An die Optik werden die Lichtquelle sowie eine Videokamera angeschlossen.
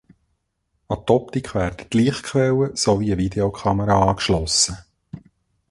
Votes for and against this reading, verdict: 0, 2, rejected